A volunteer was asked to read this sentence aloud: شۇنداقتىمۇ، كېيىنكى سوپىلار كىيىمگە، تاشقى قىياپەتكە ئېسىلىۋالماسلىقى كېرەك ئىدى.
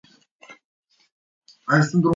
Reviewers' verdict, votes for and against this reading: rejected, 0, 2